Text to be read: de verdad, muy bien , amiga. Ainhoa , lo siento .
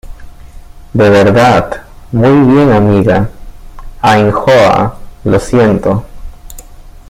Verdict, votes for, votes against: accepted, 2, 1